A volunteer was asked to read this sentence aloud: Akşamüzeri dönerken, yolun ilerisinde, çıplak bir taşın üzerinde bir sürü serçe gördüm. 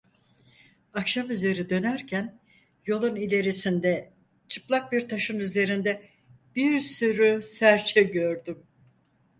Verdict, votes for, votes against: accepted, 4, 0